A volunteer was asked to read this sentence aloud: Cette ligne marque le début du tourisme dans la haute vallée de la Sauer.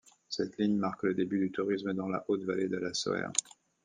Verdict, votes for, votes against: accepted, 2, 0